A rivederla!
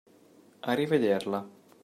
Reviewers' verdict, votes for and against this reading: accepted, 2, 0